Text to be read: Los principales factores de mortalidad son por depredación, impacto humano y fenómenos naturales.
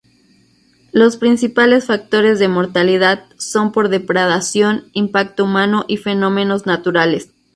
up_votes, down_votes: 0, 2